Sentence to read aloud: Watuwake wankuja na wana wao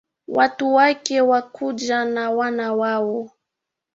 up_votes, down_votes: 1, 2